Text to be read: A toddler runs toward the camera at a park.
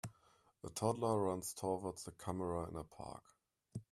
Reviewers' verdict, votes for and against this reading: rejected, 0, 2